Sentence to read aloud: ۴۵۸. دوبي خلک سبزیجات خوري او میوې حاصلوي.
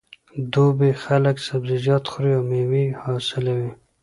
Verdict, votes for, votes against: rejected, 0, 2